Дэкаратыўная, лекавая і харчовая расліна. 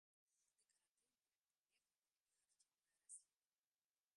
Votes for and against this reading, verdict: 0, 2, rejected